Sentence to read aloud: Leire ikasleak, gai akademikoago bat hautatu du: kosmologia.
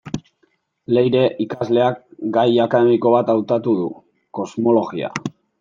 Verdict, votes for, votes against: rejected, 1, 2